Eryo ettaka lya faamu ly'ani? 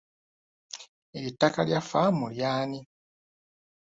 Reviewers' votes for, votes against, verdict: 2, 0, accepted